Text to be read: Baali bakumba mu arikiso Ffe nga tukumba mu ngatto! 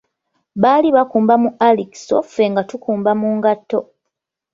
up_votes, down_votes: 2, 1